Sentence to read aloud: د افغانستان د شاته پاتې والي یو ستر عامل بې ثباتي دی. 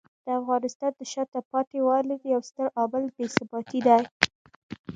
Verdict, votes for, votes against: accepted, 2, 0